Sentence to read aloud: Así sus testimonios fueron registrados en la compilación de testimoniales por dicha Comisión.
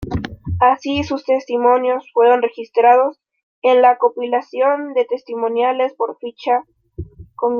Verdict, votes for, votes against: rejected, 0, 2